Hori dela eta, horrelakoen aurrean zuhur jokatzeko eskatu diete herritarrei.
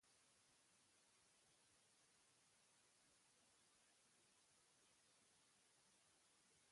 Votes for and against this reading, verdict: 0, 2, rejected